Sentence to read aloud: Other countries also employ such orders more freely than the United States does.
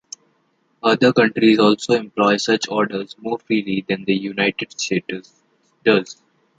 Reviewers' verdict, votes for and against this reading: rejected, 1, 2